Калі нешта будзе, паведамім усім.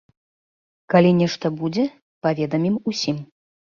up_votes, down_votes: 2, 0